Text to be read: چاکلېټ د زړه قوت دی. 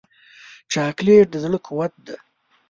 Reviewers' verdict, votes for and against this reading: rejected, 0, 2